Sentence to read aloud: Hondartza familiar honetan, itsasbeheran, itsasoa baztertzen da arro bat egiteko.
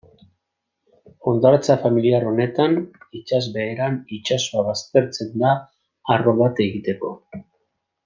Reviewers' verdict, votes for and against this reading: accepted, 2, 0